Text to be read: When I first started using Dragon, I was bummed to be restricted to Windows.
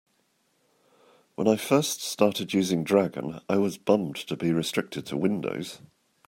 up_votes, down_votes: 2, 0